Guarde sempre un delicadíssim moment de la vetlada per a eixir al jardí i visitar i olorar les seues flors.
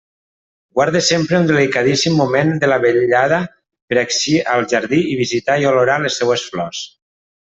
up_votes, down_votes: 1, 2